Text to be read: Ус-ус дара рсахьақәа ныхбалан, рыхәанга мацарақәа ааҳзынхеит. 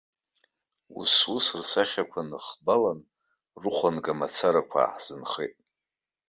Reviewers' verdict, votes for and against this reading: rejected, 1, 2